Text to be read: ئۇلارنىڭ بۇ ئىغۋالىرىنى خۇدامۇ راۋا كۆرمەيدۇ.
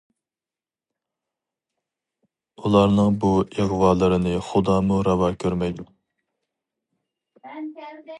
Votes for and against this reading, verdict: 2, 2, rejected